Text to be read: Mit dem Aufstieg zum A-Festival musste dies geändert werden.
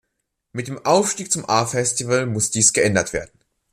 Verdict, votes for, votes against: rejected, 0, 2